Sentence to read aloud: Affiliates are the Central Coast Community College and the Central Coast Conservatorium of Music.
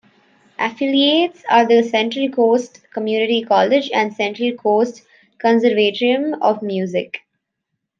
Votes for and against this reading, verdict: 0, 2, rejected